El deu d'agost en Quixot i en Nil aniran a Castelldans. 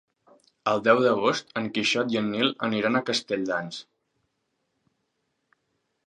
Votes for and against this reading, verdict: 3, 0, accepted